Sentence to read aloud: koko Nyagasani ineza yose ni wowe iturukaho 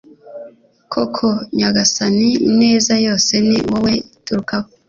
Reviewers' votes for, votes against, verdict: 2, 0, accepted